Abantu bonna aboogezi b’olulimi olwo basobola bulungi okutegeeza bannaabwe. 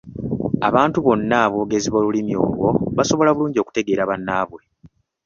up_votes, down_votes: 0, 2